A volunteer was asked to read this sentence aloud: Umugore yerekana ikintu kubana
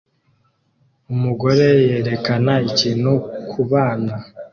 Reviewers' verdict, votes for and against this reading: accepted, 2, 0